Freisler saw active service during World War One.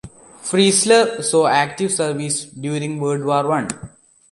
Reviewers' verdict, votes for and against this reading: accepted, 2, 0